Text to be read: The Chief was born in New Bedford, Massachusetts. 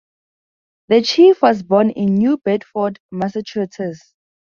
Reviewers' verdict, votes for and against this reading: accepted, 4, 0